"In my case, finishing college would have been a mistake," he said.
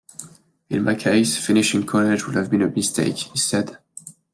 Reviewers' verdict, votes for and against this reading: accepted, 2, 0